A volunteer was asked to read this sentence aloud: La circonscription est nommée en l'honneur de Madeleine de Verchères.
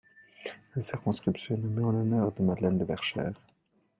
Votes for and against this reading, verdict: 0, 2, rejected